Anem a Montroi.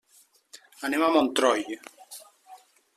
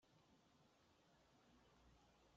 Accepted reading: first